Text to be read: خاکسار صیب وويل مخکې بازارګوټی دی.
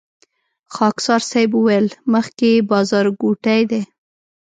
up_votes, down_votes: 2, 0